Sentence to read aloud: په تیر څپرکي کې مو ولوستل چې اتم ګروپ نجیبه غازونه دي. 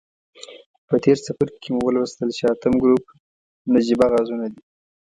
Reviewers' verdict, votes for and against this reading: accepted, 2, 0